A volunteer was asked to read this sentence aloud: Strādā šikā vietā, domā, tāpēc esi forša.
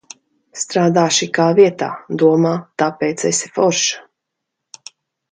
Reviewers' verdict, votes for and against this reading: accepted, 2, 0